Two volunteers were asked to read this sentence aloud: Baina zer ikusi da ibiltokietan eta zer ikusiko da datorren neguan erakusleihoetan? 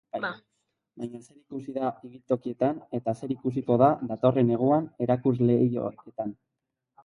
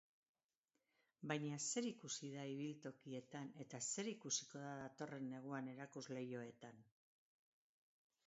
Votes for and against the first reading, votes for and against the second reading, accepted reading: 0, 2, 2, 0, second